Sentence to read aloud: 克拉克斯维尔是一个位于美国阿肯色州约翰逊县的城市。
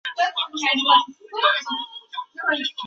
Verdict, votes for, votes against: rejected, 1, 6